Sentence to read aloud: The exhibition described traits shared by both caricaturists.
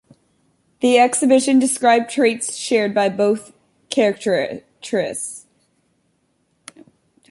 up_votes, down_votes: 1, 2